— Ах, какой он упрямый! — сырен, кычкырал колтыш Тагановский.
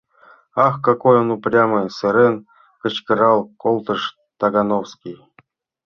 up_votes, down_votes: 2, 1